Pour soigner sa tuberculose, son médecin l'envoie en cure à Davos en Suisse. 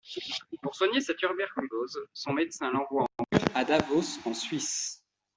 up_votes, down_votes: 0, 2